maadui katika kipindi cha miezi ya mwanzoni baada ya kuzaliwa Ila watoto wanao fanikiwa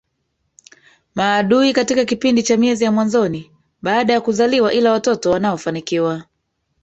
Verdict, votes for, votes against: rejected, 1, 2